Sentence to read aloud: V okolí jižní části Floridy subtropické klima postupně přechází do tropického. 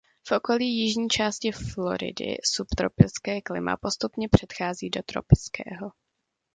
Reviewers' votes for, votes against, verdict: 0, 2, rejected